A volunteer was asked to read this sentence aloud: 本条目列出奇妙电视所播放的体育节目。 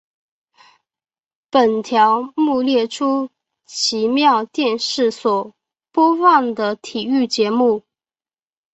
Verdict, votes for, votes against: accepted, 2, 0